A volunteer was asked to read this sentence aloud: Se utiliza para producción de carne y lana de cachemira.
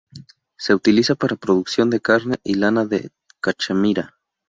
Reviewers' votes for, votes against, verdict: 2, 0, accepted